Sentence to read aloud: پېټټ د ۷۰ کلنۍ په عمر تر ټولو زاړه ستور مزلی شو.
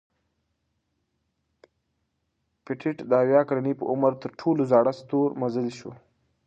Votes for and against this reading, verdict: 0, 2, rejected